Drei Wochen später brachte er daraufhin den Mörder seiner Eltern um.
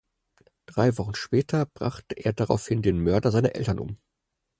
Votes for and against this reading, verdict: 4, 0, accepted